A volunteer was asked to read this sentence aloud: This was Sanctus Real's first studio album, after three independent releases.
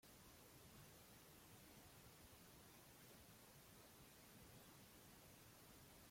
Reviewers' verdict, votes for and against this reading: rejected, 1, 2